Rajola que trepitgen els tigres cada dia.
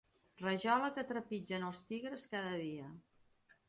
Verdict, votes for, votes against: accepted, 2, 0